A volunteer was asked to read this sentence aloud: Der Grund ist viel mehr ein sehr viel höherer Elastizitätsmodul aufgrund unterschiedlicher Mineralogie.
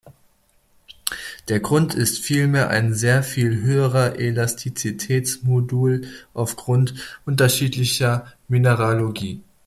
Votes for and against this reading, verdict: 2, 0, accepted